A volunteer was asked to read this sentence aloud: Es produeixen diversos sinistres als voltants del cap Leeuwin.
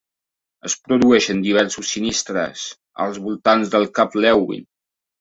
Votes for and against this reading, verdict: 0, 2, rejected